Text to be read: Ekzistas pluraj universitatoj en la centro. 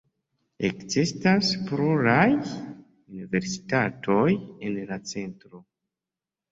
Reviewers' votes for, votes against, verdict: 2, 0, accepted